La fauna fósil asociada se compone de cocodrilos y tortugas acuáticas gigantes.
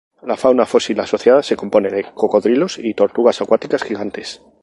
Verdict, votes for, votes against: accepted, 2, 0